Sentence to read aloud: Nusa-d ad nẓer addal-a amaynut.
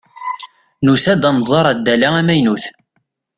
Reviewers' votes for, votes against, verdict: 2, 0, accepted